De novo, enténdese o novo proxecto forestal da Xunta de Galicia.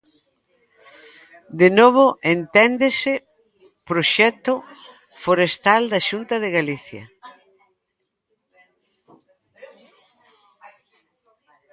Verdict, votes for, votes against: rejected, 0, 3